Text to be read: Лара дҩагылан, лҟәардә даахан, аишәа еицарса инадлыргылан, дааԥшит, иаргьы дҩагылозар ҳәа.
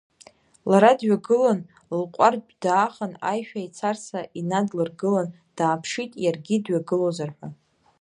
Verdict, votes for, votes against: rejected, 0, 2